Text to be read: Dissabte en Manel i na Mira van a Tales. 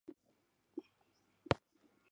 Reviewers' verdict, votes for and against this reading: rejected, 0, 2